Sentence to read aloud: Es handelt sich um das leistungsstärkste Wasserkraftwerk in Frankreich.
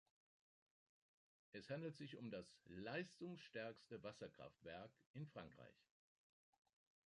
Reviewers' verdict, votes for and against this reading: rejected, 1, 2